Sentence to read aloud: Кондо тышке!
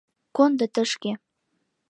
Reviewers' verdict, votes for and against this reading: accepted, 2, 0